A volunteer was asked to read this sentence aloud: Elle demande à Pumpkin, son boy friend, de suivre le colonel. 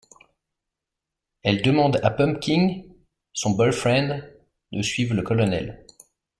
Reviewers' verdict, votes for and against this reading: rejected, 1, 2